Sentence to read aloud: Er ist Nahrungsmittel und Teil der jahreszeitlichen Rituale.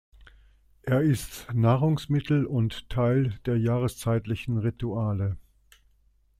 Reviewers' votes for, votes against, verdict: 2, 0, accepted